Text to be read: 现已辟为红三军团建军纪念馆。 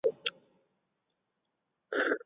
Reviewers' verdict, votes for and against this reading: rejected, 2, 3